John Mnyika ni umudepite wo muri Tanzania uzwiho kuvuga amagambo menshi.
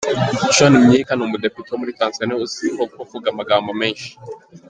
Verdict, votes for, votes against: rejected, 1, 2